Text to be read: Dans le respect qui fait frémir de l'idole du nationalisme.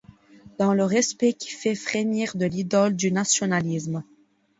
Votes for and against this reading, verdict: 2, 0, accepted